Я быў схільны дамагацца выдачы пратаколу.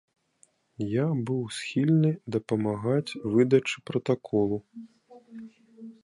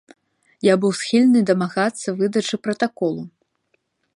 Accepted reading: second